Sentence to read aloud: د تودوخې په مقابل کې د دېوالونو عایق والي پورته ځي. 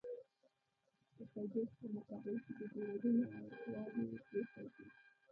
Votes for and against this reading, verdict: 1, 2, rejected